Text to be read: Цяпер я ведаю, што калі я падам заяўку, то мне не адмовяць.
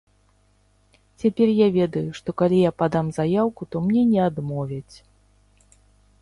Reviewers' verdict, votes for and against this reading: rejected, 0, 2